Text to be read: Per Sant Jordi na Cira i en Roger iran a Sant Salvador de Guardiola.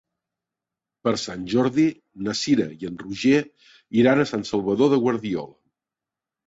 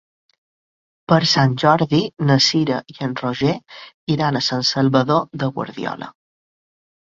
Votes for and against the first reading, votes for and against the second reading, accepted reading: 1, 2, 3, 0, second